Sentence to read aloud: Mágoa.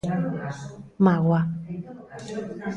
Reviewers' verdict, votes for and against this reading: accepted, 2, 0